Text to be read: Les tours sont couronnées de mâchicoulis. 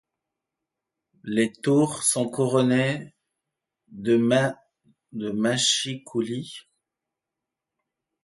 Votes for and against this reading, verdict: 1, 2, rejected